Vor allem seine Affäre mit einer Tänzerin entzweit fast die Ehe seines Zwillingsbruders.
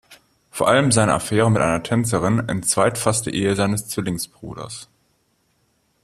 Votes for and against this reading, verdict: 1, 2, rejected